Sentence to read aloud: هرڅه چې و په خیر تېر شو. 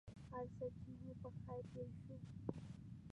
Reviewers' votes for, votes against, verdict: 1, 2, rejected